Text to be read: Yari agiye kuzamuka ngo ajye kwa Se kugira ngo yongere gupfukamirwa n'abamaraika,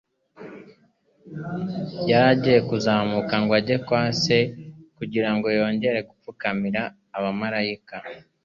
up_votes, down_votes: 2, 0